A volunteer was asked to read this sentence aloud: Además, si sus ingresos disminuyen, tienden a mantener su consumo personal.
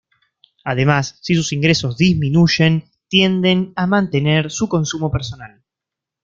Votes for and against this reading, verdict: 2, 0, accepted